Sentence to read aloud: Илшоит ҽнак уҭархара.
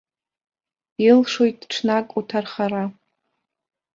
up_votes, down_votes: 2, 0